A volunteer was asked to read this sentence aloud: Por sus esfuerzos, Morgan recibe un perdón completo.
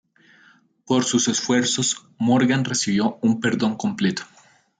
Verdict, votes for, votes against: rejected, 1, 3